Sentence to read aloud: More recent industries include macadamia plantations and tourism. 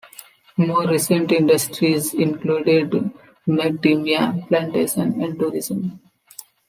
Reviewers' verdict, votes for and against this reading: rejected, 0, 2